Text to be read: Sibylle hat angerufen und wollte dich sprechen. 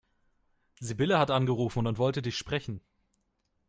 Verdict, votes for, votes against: rejected, 1, 2